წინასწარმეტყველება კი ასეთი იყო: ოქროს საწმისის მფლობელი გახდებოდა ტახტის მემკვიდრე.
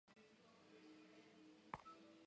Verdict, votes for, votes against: rejected, 0, 2